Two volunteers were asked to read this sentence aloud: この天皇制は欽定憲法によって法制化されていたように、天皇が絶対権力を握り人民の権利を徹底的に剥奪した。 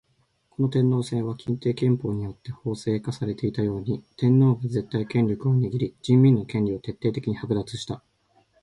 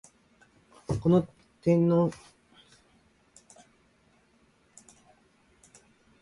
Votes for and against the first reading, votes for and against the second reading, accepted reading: 2, 0, 0, 2, first